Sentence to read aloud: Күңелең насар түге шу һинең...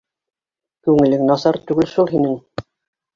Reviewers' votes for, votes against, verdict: 2, 0, accepted